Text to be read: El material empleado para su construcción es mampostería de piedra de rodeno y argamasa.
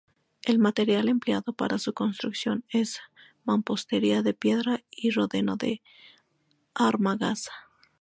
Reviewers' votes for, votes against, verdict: 0, 2, rejected